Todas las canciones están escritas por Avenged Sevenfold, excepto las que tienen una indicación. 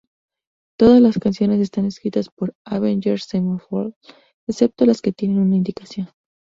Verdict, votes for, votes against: rejected, 0, 2